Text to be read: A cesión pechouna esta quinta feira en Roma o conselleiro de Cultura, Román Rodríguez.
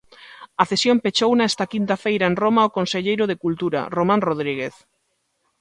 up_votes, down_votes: 2, 0